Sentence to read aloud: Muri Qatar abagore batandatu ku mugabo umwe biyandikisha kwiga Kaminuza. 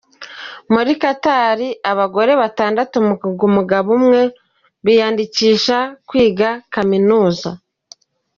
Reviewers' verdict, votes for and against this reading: accepted, 2, 1